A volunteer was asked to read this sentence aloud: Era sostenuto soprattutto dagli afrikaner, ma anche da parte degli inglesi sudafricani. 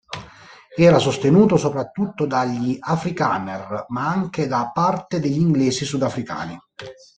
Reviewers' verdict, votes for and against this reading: rejected, 1, 2